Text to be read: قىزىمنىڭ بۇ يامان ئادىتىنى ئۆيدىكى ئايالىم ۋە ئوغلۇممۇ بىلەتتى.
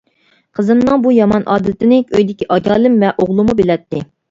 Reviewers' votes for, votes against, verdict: 1, 2, rejected